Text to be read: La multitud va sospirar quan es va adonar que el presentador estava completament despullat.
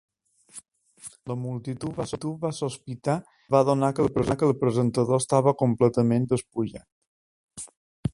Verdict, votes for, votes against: rejected, 0, 2